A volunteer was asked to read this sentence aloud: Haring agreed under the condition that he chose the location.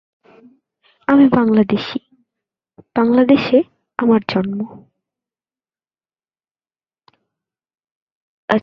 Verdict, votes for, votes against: rejected, 0, 2